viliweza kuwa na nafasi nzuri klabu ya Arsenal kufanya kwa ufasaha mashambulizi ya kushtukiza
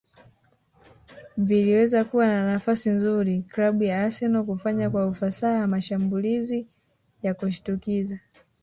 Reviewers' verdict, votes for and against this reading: rejected, 0, 2